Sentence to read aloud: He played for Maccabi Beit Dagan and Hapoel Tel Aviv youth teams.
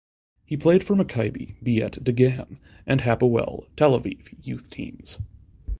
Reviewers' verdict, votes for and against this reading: accepted, 2, 0